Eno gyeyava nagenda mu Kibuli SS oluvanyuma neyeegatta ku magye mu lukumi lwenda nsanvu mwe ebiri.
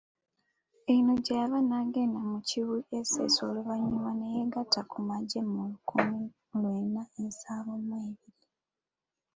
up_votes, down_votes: 2, 0